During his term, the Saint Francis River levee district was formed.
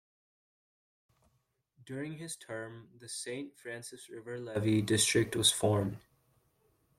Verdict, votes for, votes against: accepted, 2, 0